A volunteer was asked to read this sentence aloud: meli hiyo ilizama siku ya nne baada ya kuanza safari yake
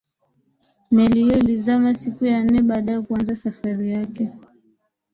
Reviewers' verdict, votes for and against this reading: accepted, 2, 0